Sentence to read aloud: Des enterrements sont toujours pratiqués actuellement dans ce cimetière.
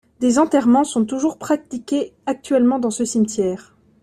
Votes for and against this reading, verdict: 1, 2, rejected